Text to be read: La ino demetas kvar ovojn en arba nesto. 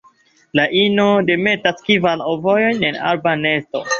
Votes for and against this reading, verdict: 0, 2, rejected